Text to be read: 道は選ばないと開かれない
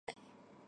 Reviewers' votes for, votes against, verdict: 0, 2, rejected